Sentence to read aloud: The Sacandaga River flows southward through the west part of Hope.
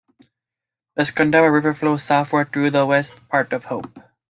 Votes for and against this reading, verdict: 1, 2, rejected